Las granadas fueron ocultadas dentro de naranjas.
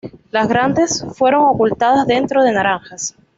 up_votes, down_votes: 1, 2